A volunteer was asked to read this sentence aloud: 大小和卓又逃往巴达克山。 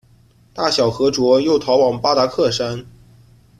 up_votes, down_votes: 2, 0